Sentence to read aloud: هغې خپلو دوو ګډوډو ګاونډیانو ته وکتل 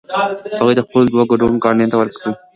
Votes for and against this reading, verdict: 1, 2, rejected